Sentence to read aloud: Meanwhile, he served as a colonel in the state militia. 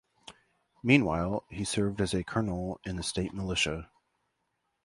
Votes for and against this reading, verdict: 2, 0, accepted